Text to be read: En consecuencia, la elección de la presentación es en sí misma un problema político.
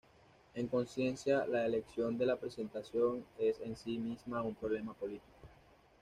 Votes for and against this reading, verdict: 0, 2, rejected